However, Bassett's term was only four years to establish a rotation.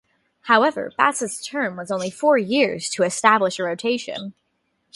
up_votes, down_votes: 2, 0